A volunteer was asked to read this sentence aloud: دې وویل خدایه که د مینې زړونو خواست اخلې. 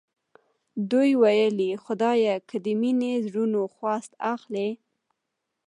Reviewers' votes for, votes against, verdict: 2, 1, accepted